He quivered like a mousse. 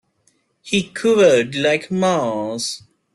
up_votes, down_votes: 0, 2